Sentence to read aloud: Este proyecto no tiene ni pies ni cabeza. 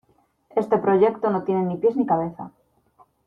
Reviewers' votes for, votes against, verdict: 2, 0, accepted